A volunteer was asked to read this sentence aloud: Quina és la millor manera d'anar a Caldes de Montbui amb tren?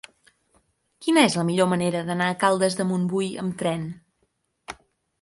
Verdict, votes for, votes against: accepted, 6, 0